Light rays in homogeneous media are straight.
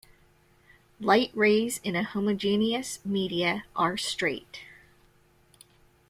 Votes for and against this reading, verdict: 0, 2, rejected